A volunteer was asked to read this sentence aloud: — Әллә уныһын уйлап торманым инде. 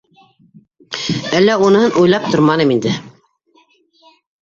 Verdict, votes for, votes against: rejected, 0, 2